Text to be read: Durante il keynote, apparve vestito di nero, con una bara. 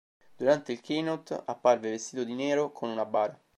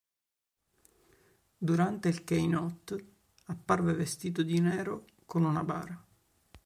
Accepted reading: second